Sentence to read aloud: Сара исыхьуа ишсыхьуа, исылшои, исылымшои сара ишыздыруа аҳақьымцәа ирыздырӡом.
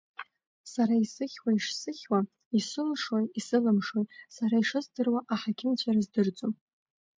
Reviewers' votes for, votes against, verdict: 2, 0, accepted